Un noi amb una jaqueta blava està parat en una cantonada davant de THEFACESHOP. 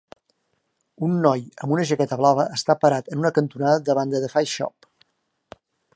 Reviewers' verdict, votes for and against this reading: accepted, 2, 0